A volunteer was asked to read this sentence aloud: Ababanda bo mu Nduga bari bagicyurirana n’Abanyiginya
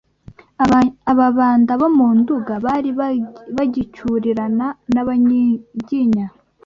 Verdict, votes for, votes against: rejected, 0, 2